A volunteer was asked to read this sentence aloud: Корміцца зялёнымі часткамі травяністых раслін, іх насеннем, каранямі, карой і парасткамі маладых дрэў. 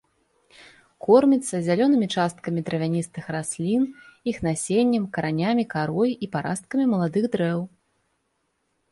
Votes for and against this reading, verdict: 2, 1, accepted